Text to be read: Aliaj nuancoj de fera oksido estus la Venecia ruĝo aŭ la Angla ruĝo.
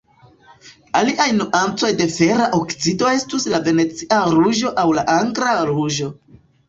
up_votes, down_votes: 1, 3